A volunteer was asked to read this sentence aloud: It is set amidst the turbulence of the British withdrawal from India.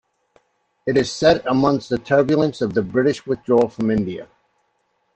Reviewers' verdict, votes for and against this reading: rejected, 0, 2